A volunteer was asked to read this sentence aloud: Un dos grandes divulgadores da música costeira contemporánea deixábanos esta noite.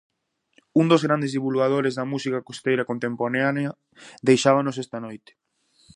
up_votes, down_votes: 0, 2